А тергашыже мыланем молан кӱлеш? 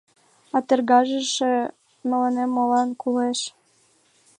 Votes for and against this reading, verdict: 0, 2, rejected